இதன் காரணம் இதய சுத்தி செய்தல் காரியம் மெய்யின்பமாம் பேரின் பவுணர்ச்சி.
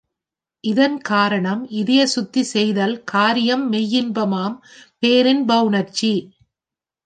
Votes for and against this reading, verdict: 2, 0, accepted